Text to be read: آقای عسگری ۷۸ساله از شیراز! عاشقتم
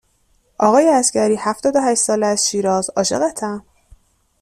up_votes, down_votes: 0, 2